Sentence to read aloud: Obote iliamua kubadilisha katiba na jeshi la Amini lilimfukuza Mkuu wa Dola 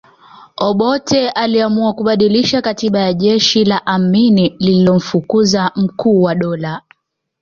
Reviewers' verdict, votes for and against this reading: accepted, 2, 0